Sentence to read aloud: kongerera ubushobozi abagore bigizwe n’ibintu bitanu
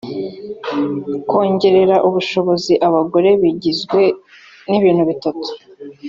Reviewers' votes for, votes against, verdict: 1, 2, rejected